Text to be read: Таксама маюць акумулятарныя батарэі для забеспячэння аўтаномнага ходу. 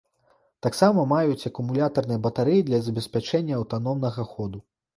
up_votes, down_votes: 2, 0